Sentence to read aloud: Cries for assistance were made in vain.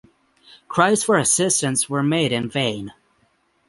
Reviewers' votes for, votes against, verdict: 6, 0, accepted